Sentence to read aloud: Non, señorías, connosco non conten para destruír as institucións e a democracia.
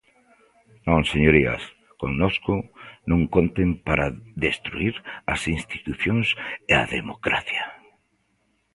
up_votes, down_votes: 2, 1